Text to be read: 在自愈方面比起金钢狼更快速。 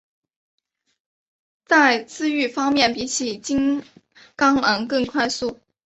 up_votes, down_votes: 2, 0